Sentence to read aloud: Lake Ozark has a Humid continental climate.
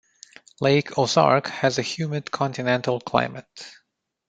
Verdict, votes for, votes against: accepted, 2, 0